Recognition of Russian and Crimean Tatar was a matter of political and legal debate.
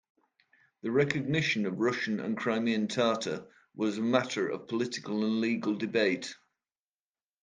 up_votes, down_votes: 1, 2